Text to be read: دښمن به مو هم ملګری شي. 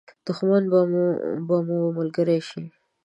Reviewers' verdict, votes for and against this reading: rejected, 1, 2